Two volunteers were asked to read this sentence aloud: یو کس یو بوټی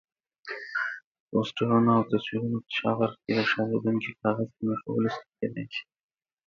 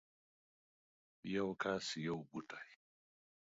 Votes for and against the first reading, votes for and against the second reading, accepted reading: 0, 2, 2, 0, second